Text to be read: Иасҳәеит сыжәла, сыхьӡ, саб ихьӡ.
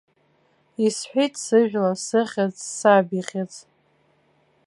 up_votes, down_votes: 1, 3